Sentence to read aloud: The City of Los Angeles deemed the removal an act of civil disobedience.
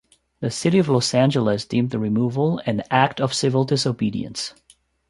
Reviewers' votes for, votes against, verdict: 2, 0, accepted